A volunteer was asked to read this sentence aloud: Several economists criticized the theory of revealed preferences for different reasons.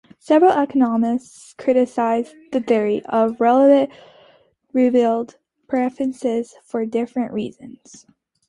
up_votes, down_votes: 0, 2